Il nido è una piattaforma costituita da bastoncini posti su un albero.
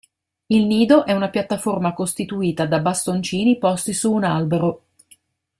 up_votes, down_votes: 1, 2